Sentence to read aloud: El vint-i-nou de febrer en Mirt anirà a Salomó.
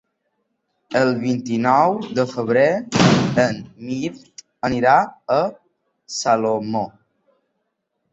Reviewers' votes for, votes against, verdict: 1, 2, rejected